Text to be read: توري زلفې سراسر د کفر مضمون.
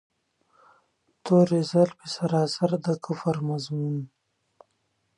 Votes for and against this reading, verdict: 2, 0, accepted